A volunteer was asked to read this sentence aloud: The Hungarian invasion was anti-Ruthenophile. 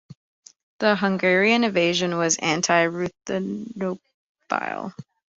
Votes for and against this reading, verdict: 0, 2, rejected